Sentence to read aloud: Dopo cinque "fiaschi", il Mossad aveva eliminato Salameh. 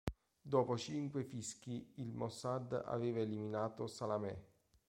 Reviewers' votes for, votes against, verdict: 0, 2, rejected